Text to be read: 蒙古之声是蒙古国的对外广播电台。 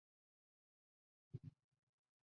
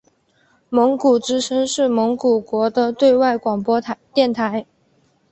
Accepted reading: second